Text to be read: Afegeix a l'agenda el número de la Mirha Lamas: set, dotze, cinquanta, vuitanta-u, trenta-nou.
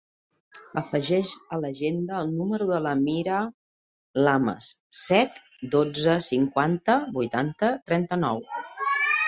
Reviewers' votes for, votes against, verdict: 1, 2, rejected